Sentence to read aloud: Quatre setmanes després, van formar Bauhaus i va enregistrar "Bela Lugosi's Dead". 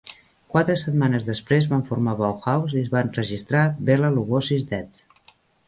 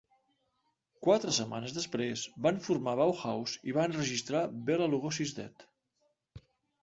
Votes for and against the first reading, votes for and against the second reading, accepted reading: 1, 2, 2, 0, second